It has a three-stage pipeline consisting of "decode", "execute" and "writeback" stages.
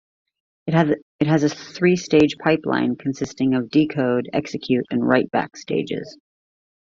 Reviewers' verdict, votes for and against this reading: rejected, 1, 2